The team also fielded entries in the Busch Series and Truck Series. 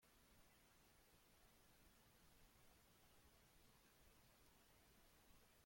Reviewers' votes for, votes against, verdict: 0, 2, rejected